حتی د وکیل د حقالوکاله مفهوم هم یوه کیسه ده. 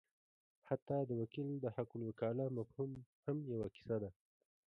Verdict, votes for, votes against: rejected, 0, 2